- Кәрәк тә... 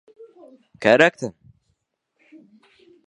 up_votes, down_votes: 0, 2